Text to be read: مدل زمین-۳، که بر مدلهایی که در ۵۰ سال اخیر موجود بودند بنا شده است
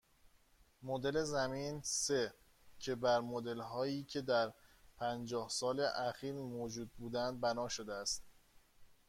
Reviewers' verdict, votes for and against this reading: rejected, 0, 2